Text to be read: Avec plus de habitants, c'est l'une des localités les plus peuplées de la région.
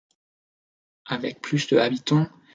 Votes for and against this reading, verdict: 0, 2, rejected